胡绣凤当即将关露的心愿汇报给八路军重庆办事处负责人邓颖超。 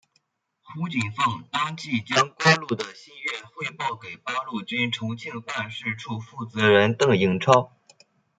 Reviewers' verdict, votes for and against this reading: accepted, 2, 0